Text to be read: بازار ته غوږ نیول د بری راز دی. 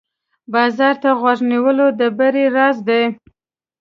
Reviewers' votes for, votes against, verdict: 1, 2, rejected